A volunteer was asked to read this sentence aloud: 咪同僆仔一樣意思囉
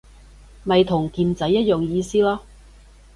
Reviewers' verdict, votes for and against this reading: rejected, 0, 2